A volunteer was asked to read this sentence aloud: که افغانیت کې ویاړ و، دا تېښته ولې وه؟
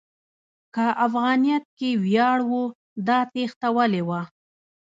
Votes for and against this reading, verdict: 0, 2, rejected